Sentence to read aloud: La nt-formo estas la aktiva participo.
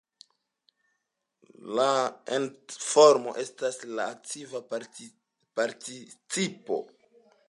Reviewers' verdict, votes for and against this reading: rejected, 2, 3